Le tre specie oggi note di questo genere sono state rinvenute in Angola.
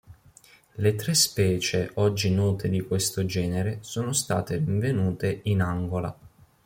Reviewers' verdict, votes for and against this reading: rejected, 1, 2